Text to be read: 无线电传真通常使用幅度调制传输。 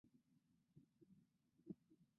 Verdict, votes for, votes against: rejected, 0, 2